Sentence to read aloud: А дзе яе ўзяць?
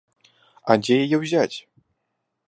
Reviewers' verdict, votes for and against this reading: accepted, 2, 0